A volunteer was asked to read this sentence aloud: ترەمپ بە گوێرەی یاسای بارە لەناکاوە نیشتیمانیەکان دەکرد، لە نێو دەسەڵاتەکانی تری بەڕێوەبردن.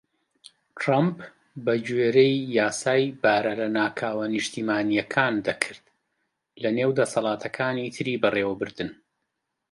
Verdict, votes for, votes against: accepted, 2, 0